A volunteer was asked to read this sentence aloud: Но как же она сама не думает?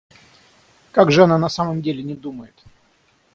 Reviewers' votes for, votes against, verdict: 3, 6, rejected